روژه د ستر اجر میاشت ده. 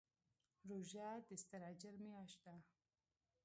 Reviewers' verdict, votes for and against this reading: rejected, 1, 2